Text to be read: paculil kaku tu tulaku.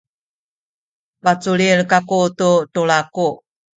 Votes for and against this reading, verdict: 1, 2, rejected